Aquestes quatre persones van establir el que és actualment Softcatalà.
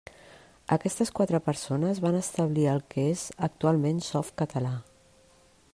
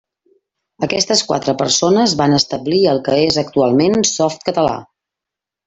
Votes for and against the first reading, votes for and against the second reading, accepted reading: 3, 0, 1, 2, first